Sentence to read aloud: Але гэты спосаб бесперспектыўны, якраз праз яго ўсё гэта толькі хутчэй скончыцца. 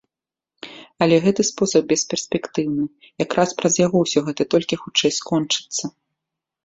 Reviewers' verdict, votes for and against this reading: accepted, 2, 0